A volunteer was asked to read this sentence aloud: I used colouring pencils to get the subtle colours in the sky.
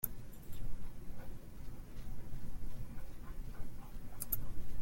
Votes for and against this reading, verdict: 0, 2, rejected